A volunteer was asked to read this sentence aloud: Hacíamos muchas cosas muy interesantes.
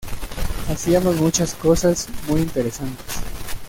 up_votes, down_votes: 2, 0